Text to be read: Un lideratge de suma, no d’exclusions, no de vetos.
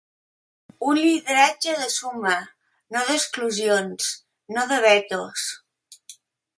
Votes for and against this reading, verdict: 3, 0, accepted